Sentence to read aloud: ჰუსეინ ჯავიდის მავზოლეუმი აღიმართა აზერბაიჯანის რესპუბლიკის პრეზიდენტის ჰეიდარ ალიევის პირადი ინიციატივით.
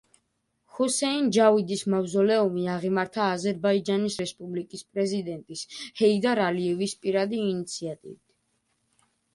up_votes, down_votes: 2, 0